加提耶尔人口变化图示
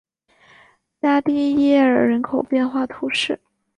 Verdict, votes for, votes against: rejected, 2, 3